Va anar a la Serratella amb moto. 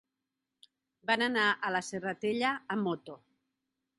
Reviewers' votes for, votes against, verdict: 1, 2, rejected